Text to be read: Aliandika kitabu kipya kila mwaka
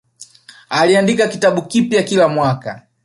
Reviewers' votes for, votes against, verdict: 0, 2, rejected